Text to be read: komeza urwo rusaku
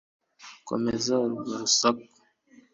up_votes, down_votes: 2, 0